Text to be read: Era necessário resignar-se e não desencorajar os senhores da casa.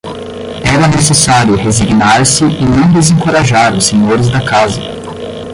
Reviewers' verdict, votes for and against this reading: rejected, 5, 10